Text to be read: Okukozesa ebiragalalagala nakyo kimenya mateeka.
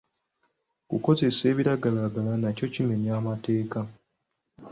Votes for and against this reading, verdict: 2, 1, accepted